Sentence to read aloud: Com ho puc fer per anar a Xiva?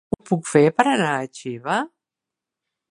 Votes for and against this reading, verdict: 0, 3, rejected